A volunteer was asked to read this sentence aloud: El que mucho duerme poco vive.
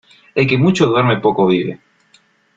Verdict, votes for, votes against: accepted, 2, 0